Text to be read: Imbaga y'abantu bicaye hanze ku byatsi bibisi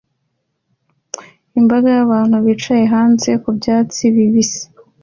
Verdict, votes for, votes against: accepted, 2, 0